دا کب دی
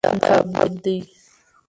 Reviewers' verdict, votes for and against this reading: rejected, 0, 2